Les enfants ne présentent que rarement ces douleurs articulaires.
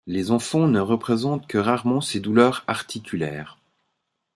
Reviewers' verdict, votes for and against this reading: rejected, 1, 4